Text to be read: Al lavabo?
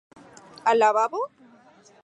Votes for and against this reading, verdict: 4, 0, accepted